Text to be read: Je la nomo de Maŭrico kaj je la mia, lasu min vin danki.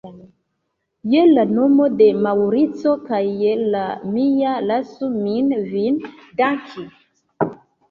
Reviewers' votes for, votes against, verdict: 2, 0, accepted